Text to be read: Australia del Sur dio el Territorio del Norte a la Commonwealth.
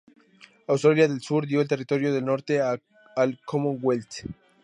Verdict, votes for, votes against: rejected, 0, 2